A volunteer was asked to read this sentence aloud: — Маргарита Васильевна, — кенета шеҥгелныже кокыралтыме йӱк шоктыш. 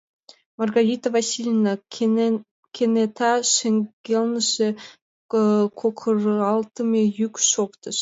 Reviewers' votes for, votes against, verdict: 0, 2, rejected